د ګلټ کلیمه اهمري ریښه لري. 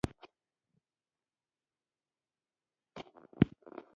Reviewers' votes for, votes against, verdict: 1, 2, rejected